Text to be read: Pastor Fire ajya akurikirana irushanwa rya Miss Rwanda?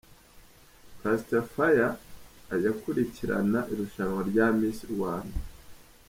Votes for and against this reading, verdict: 0, 2, rejected